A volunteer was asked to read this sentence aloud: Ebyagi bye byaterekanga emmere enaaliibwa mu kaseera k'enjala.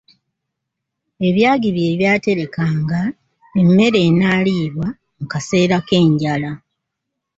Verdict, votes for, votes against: accepted, 2, 1